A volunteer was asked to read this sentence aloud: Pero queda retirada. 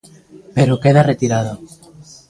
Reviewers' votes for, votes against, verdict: 2, 0, accepted